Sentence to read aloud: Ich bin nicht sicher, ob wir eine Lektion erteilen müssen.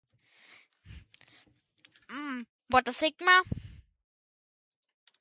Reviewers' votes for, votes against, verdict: 0, 2, rejected